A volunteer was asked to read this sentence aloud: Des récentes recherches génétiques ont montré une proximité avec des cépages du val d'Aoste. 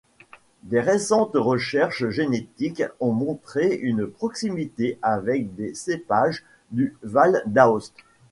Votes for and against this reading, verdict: 2, 0, accepted